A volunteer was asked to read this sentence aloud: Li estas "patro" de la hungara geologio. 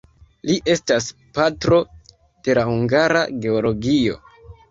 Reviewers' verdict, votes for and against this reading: accepted, 2, 1